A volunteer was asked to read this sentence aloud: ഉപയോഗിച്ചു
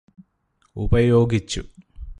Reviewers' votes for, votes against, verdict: 2, 0, accepted